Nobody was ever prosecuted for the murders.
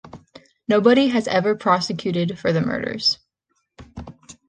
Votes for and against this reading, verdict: 1, 3, rejected